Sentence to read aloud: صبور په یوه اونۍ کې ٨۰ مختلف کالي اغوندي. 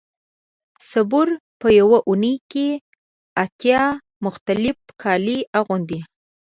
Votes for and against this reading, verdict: 0, 2, rejected